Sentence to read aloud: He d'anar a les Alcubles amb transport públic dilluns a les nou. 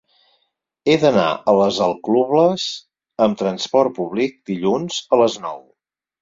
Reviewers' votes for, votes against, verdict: 2, 4, rejected